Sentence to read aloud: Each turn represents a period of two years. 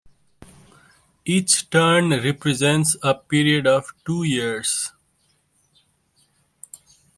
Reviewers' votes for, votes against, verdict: 1, 2, rejected